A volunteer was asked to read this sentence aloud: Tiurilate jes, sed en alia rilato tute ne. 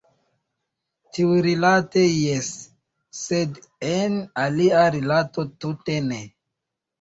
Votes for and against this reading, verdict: 2, 0, accepted